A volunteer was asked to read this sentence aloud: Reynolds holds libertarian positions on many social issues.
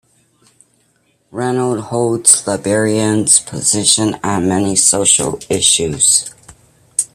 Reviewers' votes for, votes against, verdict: 0, 2, rejected